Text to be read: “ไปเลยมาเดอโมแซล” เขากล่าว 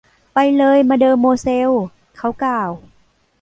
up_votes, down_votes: 1, 2